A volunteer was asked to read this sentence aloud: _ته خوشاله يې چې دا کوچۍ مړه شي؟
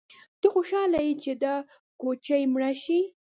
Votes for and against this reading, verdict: 2, 0, accepted